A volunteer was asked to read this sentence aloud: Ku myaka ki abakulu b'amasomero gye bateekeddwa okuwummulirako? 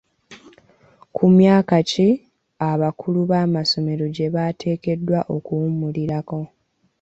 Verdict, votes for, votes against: accepted, 2, 1